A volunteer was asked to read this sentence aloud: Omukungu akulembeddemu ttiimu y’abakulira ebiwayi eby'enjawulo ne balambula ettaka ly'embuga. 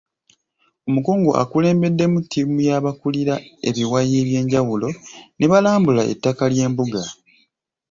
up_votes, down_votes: 2, 0